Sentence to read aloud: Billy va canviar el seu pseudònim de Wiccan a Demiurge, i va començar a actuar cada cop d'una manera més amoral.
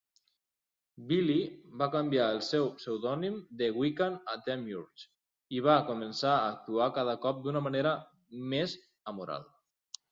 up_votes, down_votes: 2, 0